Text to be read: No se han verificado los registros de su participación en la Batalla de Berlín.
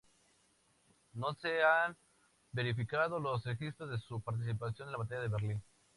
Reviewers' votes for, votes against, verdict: 4, 0, accepted